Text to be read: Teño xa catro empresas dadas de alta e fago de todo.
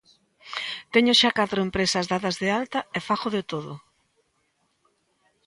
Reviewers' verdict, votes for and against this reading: accepted, 3, 0